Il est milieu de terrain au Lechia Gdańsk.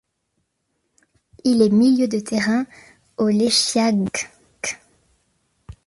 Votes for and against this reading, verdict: 0, 2, rejected